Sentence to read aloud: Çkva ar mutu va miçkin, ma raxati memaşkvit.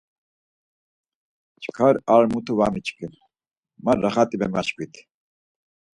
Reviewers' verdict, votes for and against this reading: accepted, 4, 0